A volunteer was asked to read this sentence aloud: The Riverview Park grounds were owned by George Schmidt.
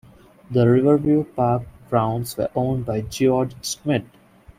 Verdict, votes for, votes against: accepted, 2, 0